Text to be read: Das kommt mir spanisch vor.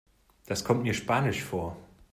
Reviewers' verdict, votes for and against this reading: accepted, 2, 0